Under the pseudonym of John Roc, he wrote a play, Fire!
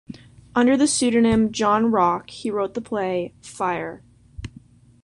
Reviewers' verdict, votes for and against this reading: rejected, 1, 2